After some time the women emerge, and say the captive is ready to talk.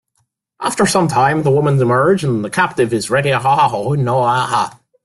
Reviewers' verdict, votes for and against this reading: rejected, 0, 2